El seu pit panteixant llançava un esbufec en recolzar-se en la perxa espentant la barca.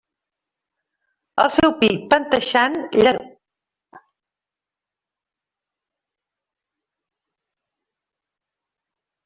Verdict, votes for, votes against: rejected, 0, 2